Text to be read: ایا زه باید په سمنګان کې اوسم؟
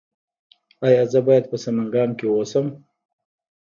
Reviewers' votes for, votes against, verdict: 1, 2, rejected